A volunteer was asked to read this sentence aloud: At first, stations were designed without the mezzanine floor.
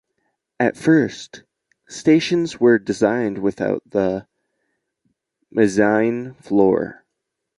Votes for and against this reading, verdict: 1, 2, rejected